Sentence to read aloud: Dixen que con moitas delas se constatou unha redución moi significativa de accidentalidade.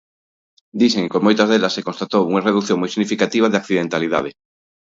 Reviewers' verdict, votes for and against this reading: rejected, 1, 2